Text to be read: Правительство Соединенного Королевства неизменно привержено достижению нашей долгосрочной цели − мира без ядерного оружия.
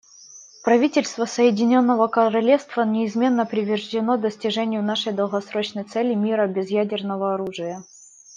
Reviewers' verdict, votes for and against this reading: rejected, 0, 2